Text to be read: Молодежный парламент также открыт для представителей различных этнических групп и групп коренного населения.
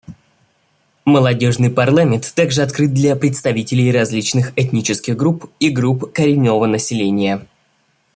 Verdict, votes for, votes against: rejected, 1, 2